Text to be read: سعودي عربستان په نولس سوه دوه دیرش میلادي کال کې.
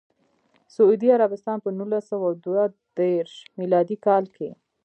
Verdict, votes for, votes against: rejected, 1, 2